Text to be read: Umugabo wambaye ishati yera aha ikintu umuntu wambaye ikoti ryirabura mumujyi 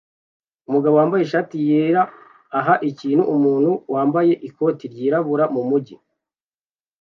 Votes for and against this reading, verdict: 2, 0, accepted